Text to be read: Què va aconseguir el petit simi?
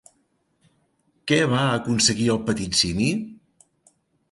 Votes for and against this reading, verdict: 3, 0, accepted